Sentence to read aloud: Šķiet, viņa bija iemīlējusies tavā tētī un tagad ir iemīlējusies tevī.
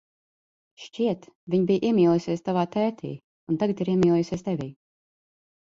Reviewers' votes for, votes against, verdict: 2, 0, accepted